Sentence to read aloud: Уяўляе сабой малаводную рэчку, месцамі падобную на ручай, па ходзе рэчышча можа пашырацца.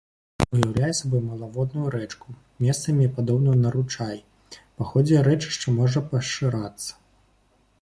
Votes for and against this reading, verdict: 2, 1, accepted